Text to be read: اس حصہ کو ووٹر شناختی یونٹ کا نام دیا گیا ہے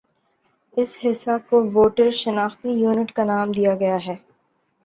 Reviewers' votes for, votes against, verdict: 3, 0, accepted